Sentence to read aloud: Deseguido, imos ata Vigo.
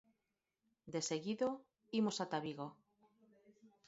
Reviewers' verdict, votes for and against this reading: accepted, 6, 0